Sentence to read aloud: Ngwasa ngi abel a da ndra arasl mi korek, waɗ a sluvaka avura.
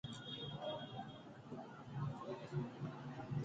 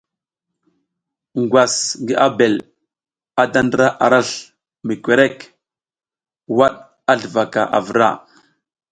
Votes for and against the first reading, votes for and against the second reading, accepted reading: 0, 2, 3, 0, second